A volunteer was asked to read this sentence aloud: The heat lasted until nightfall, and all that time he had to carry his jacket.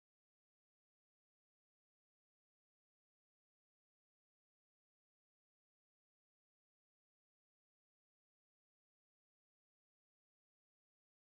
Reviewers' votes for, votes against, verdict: 0, 2, rejected